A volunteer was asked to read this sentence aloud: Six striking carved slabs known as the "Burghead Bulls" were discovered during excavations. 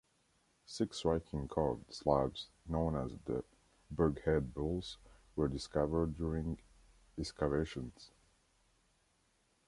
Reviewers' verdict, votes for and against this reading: accepted, 2, 0